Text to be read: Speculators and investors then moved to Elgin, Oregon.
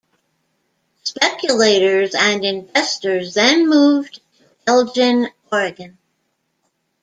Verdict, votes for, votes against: rejected, 1, 2